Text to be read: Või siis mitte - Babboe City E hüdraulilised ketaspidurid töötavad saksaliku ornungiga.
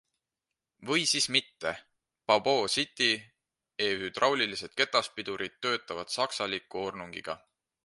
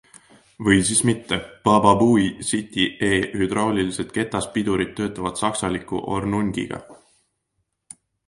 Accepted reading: first